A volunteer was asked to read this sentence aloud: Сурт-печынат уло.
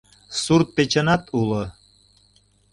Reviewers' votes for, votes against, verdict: 2, 0, accepted